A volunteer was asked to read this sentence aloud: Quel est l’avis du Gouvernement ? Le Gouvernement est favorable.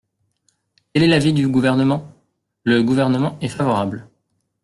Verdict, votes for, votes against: rejected, 1, 2